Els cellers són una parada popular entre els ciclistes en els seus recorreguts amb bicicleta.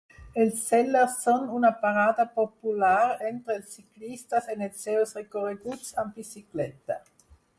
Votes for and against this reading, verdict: 2, 4, rejected